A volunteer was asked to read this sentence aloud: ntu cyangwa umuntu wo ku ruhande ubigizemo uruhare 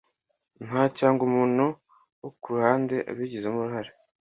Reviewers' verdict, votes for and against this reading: accepted, 2, 1